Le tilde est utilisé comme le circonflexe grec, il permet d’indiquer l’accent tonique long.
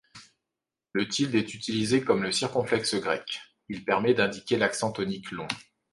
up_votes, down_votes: 2, 0